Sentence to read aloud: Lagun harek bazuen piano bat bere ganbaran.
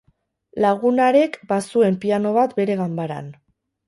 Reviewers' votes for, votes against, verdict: 2, 2, rejected